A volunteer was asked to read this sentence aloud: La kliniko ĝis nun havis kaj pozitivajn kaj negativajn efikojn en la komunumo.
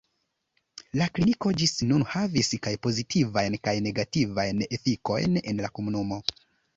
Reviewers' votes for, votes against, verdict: 2, 0, accepted